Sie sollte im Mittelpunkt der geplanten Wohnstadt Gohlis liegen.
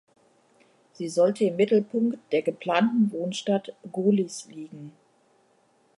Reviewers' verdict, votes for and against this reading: accepted, 2, 0